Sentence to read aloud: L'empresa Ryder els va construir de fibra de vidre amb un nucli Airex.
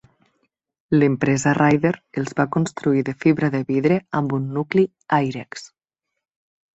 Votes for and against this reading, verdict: 3, 0, accepted